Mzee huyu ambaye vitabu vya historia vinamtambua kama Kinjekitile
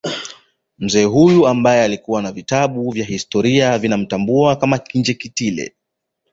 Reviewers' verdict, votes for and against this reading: rejected, 1, 2